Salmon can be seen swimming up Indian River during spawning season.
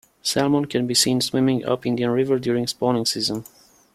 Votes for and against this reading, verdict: 2, 0, accepted